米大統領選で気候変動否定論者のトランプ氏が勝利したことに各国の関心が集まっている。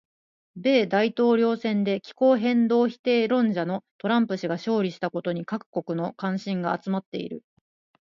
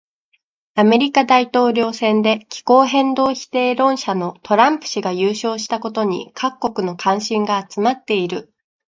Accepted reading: first